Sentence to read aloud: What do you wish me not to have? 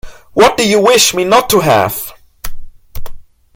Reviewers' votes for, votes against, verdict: 1, 2, rejected